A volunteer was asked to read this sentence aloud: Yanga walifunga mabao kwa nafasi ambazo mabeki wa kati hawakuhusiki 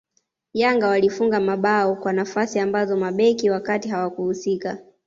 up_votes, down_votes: 2, 0